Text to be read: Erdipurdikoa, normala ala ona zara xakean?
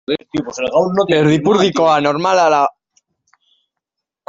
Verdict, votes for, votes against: rejected, 0, 2